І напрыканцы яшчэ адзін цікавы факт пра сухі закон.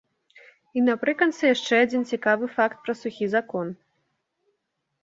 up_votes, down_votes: 1, 2